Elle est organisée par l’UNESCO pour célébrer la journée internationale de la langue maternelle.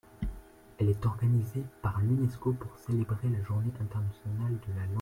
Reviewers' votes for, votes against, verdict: 0, 2, rejected